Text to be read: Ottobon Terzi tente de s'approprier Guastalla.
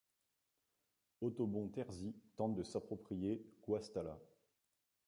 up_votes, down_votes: 0, 2